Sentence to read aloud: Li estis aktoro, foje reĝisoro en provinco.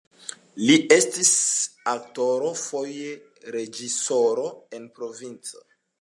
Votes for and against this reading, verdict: 2, 1, accepted